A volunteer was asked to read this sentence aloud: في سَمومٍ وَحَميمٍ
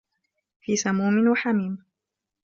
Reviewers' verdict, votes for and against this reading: accepted, 2, 0